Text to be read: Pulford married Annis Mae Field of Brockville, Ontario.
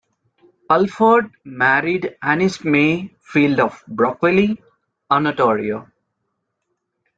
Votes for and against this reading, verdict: 0, 2, rejected